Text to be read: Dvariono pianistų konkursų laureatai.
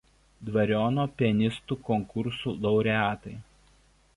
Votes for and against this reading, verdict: 2, 1, accepted